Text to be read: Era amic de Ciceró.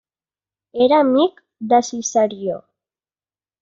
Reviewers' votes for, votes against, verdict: 0, 2, rejected